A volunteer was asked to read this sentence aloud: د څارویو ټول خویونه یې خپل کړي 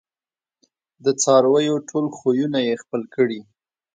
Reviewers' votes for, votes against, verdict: 2, 0, accepted